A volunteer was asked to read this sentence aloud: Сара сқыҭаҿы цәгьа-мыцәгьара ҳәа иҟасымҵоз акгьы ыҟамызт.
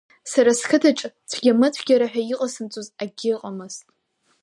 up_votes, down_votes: 5, 0